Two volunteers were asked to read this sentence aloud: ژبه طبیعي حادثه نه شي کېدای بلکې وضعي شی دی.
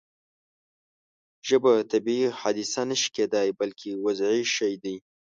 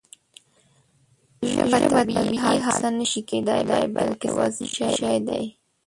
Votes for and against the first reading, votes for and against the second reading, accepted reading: 2, 0, 1, 2, first